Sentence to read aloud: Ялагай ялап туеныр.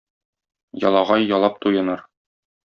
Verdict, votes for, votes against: accepted, 2, 0